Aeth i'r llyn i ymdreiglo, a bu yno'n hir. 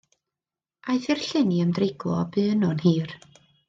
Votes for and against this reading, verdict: 2, 0, accepted